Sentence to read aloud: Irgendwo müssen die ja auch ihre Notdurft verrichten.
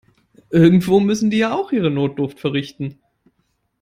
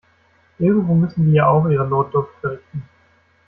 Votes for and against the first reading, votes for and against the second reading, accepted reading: 3, 0, 0, 2, first